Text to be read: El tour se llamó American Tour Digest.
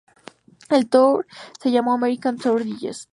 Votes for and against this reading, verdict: 2, 0, accepted